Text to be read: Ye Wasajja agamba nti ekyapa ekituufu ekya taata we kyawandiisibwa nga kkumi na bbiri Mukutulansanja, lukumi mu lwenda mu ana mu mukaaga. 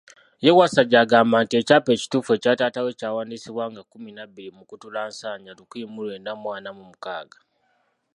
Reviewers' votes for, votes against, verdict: 2, 0, accepted